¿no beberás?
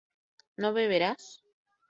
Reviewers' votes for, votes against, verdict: 2, 0, accepted